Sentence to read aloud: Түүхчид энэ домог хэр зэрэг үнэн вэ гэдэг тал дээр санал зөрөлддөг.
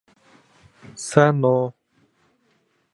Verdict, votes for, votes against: rejected, 1, 2